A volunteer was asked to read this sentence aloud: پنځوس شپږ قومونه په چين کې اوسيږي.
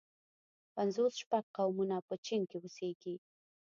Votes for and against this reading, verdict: 2, 0, accepted